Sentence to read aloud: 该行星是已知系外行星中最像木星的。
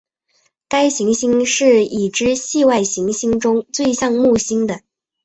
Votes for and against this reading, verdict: 2, 0, accepted